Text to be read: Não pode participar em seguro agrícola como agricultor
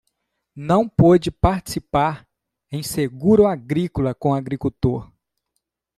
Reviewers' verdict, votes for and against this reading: rejected, 0, 2